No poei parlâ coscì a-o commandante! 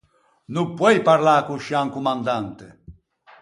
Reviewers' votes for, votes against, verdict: 0, 4, rejected